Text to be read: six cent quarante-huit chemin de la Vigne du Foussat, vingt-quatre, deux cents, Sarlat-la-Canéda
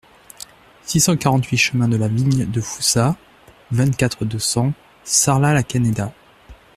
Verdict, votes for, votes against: rejected, 1, 2